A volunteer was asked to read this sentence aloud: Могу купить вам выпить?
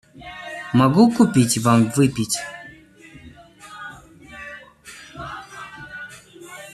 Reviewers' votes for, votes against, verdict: 0, 2, rejected